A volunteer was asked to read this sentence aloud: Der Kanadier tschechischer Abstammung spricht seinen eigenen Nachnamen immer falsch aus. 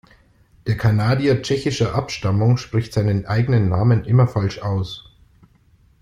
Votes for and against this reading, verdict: 0, 2, rejected